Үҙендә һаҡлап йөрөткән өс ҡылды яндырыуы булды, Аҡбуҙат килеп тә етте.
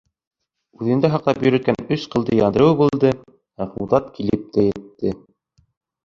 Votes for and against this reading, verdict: 2, 3, rejected